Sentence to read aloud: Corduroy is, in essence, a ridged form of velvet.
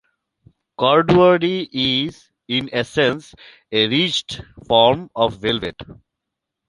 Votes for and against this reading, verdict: 2, 0, accepted